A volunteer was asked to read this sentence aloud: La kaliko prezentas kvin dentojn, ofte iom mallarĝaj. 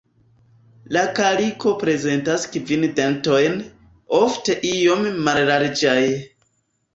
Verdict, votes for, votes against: rejected, 1, 2